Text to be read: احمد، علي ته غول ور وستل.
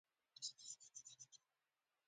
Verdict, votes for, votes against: rejected, 1, 2